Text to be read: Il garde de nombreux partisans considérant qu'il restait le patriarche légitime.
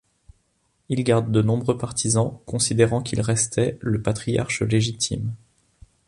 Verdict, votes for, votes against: accepted, 2, 0